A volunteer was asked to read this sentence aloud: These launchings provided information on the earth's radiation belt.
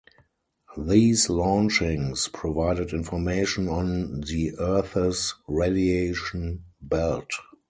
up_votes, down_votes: 2, 2